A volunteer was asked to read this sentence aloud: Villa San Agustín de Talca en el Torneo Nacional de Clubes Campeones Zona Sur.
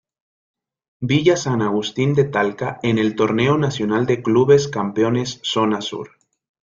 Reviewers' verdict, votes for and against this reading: accepted, 2, 0